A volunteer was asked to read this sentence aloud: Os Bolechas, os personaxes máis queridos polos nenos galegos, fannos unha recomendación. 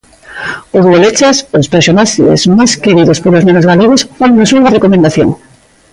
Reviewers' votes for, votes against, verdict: 2, 0, accepted